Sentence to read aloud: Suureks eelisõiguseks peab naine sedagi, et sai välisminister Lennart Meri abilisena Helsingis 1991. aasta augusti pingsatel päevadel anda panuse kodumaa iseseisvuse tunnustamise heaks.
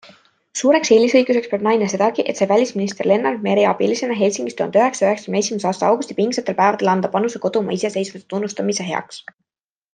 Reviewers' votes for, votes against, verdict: 0, 2, rejected